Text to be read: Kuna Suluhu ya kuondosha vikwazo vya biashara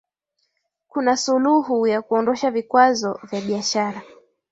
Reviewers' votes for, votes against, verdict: 2, 0, accepted